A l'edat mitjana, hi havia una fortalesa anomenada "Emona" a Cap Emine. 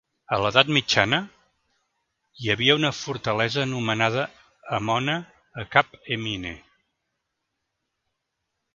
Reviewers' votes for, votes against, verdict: 2, 0, accepted